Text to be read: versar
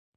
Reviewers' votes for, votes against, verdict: 0, 2, rejected